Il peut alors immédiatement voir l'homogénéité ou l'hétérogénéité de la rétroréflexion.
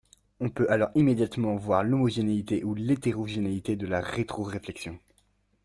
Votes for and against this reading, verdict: 1, 2, rejected